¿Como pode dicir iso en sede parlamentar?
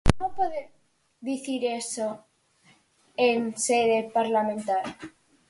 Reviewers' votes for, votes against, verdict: 0, 4, rejected